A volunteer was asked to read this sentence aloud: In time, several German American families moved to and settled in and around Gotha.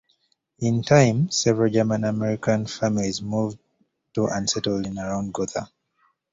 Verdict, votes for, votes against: rejected, 1, 2